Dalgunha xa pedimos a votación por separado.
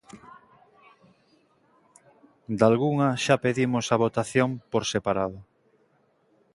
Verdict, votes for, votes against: accepted, 3, 0